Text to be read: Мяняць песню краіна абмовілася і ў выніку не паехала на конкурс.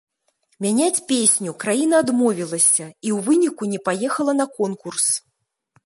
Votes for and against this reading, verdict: 0, 2, rejected